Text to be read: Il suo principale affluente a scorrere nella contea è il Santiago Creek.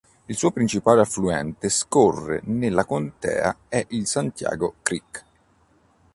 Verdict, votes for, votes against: rejected, 0, 3